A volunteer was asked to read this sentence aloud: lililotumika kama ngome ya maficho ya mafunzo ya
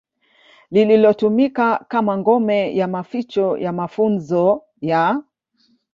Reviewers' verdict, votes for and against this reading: accepted, 2, 0